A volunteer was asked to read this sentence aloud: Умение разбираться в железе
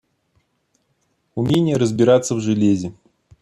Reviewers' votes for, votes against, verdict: 2, 0, accepted